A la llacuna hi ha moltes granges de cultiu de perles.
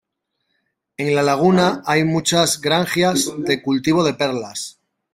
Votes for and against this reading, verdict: 0, 2, rejected